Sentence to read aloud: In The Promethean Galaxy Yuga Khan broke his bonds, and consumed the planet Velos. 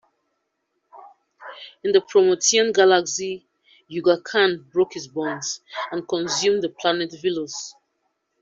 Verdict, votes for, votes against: accepted, 2, 0